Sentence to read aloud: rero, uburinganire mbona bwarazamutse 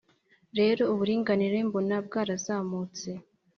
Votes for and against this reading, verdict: 2, 0, accepted